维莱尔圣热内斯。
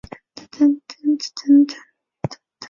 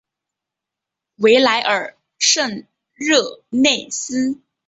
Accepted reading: second